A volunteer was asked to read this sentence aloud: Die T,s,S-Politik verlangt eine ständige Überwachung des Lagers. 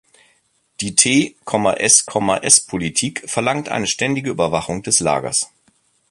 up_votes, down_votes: 0, 2